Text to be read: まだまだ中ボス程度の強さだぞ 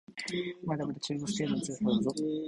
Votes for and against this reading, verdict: 3, 2, accepted